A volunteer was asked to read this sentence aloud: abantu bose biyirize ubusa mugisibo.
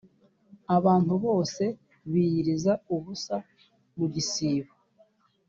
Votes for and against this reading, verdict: 1, 2, rejected